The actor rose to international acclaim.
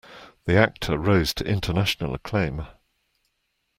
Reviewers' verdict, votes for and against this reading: accepted, 2, 0